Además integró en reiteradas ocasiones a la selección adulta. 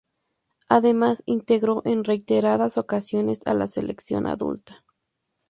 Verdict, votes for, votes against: accepted, 2, 0